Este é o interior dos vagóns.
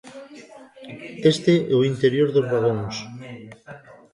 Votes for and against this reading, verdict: 0, 2, rejected